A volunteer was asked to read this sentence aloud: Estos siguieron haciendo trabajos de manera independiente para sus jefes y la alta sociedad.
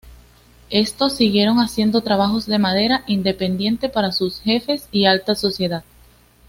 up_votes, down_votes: 2, 0